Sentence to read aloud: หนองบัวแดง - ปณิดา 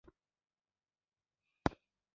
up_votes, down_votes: 1, 2